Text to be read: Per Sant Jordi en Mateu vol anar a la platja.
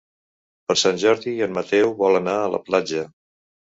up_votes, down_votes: 3, 0